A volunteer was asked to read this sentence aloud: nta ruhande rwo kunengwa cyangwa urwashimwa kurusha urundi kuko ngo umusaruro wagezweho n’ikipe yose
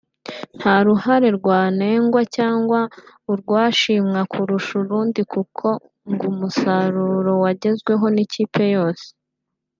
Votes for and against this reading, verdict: 0, 3, rejected